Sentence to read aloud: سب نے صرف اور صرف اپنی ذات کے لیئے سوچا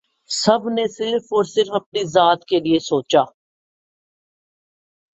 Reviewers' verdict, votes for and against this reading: accepted, 6, 2